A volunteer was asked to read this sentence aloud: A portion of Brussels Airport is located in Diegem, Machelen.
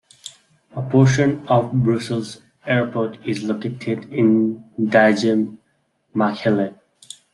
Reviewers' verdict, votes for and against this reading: accepted, 2, 1